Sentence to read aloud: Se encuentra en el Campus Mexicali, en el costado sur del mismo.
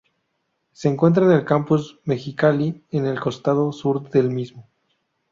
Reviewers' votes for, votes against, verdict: 2, 0, accepted